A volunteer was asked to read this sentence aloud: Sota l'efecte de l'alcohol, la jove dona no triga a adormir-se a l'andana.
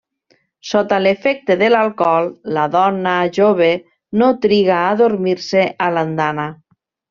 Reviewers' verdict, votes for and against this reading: rejected, 0, 2